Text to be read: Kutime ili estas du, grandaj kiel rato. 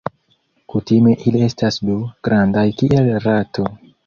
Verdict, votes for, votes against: rejected, 1, 2